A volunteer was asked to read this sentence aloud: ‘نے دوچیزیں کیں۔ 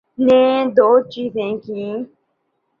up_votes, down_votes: 3, 0